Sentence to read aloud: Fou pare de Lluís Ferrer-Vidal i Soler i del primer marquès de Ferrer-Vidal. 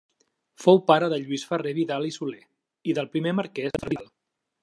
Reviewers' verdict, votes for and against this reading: rejected, 0, 2